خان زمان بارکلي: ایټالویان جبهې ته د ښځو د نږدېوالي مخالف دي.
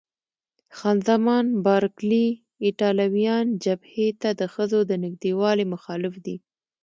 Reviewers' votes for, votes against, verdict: 2, 0, accepted